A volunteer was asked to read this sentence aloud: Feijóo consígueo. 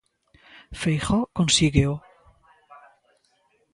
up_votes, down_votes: 2, 0